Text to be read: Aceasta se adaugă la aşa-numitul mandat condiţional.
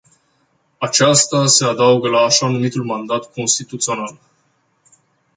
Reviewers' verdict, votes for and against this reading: rejected, 0, 2